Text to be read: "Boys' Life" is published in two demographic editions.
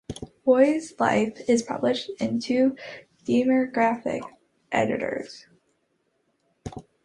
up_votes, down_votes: 0, 2